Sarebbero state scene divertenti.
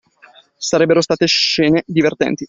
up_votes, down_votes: 2, 1